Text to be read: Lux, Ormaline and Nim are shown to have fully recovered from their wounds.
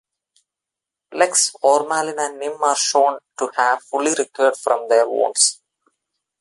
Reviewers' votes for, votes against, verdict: 1, 2, rejected